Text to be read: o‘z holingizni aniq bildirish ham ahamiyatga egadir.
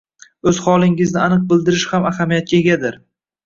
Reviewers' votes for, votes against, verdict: 1, 2, rejected